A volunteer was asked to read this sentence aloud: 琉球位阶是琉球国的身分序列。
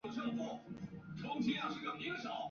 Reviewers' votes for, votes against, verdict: 0, 2, rejected